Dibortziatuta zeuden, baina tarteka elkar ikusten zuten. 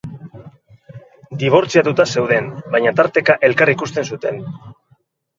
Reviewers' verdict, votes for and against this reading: accepted, 4, 0